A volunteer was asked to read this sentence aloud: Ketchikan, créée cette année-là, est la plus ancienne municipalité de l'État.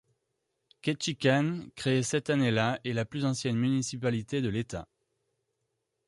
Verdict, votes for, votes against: accepted, 2, 0